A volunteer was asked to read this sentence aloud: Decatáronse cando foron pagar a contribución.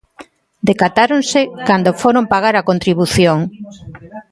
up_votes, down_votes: 2, 0